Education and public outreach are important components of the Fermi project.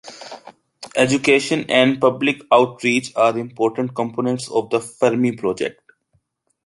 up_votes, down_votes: 2, 0